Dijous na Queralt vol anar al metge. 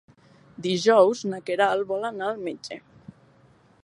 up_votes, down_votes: 3, 0